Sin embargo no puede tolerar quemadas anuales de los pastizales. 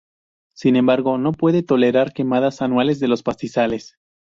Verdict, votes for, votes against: accepted, 2, 0